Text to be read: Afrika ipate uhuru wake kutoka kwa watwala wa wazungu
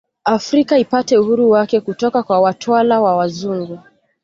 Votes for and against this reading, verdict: 2, 0, accepted